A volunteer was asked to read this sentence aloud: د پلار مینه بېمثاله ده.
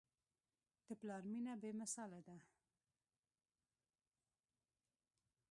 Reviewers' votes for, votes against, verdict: 1, 2, rejected